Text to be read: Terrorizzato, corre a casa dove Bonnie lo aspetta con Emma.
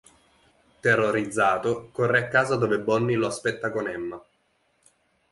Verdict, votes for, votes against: accepted, 2, 0